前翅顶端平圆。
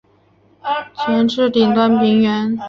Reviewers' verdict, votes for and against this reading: rejected, 1, 2